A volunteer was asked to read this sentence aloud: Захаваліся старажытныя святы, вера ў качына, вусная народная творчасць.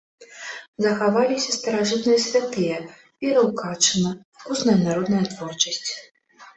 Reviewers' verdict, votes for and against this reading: rejected, 1, 2